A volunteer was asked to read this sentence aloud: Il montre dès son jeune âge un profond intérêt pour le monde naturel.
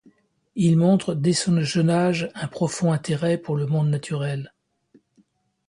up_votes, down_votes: 1, 2